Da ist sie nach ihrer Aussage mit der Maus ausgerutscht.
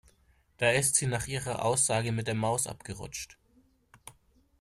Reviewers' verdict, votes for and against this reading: rejected, 1, 2